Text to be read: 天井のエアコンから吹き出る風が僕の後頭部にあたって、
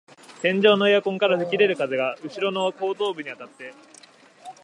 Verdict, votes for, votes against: rejected, 1, 2